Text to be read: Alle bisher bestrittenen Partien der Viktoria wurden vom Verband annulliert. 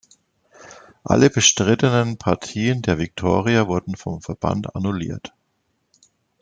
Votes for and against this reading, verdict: 0, 2, rejected